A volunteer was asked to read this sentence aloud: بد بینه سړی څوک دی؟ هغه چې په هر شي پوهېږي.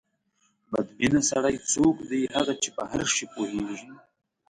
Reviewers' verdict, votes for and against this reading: accepted, 2, 0